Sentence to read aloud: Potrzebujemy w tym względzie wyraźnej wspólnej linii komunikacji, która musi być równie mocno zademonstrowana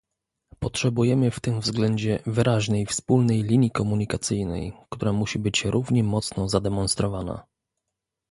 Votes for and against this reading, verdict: 0, 2, rejected